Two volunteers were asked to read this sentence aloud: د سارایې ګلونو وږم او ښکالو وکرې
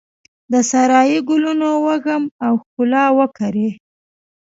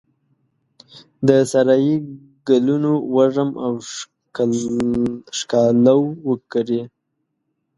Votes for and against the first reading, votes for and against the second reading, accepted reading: 0, 2, 2, 1, second